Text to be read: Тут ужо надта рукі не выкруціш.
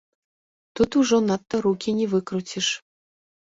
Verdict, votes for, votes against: rejected, 0, 2